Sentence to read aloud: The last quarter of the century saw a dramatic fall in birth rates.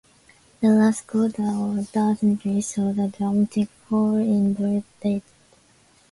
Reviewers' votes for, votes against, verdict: 0, 2, rejected